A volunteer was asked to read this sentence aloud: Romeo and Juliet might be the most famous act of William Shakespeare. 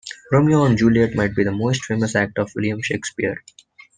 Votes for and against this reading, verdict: 2, 0, accepted